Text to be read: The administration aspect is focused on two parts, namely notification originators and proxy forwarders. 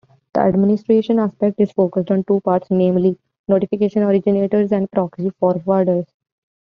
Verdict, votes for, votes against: accepted, 2, 0